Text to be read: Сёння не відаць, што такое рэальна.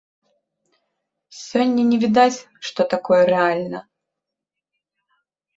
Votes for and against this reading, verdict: 2, 0, accepted